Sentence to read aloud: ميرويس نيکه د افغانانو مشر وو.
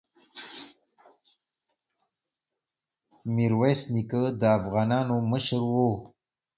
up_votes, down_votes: 2, 0